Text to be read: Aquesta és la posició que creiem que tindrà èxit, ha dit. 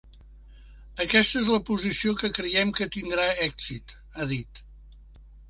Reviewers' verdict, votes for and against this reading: accepted, 4, 0